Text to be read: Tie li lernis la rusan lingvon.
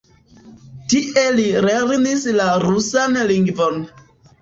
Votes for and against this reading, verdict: 0, 2, rejected